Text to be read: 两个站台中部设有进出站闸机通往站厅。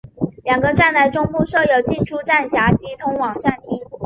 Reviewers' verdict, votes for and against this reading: rejected, 0, 2